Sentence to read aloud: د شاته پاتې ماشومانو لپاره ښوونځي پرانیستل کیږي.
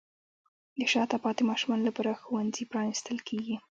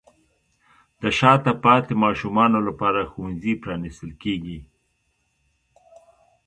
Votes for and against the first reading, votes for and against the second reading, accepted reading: 2, 1, 0, 2, first